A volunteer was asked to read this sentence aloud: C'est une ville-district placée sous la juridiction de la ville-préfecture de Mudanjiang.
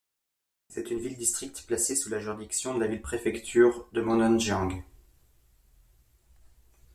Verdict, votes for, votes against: accepted, 2, 0